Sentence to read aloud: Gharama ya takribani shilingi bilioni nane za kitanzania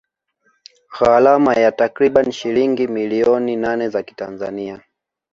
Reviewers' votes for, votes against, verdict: 0, 2, rejected